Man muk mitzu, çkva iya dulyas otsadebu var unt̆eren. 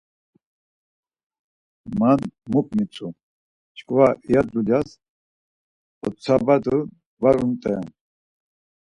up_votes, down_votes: 2, 4